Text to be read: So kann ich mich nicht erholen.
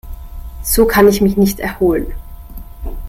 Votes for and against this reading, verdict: 2, 0, accepted